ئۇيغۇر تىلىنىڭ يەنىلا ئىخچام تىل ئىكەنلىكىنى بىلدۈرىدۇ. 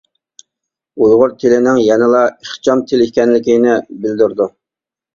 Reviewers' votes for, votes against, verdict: 2, 0, accepted